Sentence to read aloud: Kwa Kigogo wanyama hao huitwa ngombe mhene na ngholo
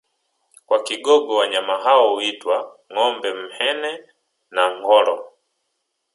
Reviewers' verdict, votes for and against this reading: accepted, 2, 0